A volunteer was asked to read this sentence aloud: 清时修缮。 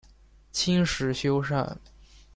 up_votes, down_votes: 2, 0